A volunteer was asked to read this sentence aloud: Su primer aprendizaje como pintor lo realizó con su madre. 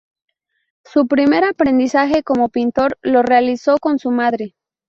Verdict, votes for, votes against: accepted, 2, 0